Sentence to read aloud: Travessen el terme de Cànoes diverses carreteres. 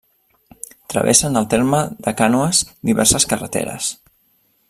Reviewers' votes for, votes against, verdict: 2, 0, accepted